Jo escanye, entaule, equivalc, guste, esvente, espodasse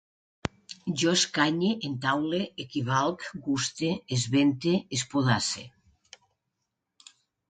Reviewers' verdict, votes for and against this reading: accepted, 4, 0